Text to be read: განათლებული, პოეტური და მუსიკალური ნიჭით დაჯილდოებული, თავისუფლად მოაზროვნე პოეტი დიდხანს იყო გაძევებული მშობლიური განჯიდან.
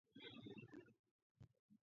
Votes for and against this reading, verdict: 2, 1, accepted